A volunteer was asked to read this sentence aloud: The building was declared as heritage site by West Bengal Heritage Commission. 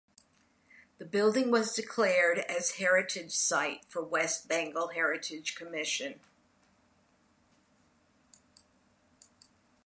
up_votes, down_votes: 2, 0